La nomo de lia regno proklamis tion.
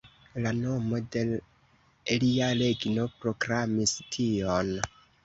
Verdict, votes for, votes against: rejected, 1, 2